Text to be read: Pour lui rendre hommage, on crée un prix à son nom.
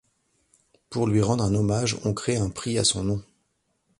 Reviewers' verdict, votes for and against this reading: rejected, 1, 2